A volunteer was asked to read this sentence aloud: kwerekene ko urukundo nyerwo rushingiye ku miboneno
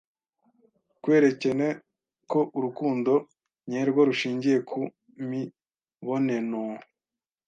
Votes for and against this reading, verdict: 1, 2, rejected